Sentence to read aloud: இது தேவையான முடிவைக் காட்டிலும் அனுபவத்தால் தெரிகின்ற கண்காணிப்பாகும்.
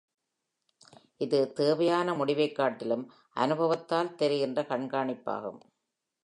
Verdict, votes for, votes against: accepted, 2, 0